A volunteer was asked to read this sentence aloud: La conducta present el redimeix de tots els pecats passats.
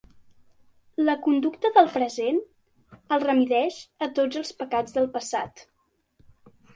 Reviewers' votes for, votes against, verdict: 0, 2, rejected